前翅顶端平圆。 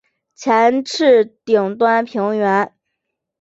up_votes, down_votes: 5, 0